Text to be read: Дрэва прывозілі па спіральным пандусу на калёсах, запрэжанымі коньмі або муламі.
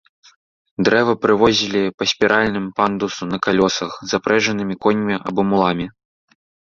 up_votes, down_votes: 1, 2